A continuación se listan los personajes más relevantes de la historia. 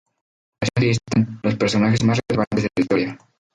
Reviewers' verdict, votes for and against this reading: accepted, 2, 0